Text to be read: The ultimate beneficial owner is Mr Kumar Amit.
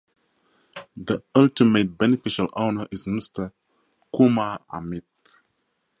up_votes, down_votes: 2, 0